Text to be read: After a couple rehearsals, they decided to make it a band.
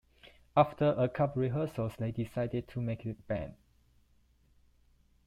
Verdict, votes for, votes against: accepted, 2, 1